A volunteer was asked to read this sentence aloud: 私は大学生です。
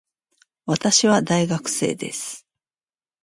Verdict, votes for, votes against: accepted, 2, 0